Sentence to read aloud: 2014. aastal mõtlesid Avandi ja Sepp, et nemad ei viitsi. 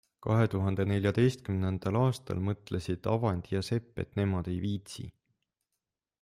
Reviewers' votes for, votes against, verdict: 0, 2, rejected